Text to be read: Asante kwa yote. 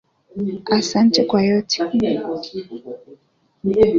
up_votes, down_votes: 2, 1